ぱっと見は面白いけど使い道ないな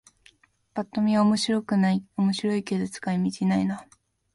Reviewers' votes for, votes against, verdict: 2, 1, accepted